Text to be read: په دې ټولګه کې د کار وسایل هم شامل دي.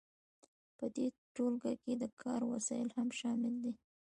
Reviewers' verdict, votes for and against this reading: rejected, 1, 2